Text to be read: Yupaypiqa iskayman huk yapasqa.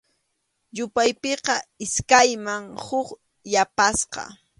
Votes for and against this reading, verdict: 2, 0, accepted